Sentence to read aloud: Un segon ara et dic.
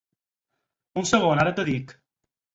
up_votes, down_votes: 0, 4